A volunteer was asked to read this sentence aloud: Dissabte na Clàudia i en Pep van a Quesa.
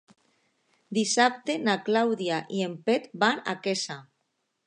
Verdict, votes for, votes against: accepted, 2, 0